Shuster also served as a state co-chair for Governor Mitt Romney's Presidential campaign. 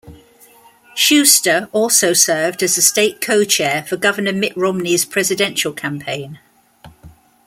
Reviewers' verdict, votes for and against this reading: accepted, 2, 0